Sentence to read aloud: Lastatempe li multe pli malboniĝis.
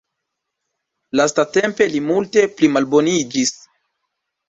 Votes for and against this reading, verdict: 1, 2, rejected